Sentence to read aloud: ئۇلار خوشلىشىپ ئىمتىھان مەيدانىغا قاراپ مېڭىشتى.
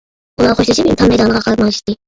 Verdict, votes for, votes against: rejected, 0, 2